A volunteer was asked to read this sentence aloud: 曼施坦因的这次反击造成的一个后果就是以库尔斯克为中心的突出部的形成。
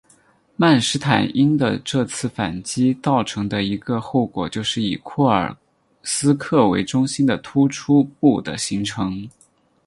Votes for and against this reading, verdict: 4, 0, accepted